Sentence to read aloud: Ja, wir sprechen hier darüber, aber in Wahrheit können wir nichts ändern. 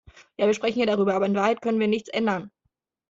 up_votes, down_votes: 2, 0